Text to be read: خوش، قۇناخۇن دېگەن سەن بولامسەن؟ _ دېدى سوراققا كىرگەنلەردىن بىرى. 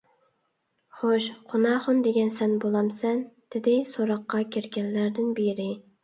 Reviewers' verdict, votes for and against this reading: accepted, 2, 0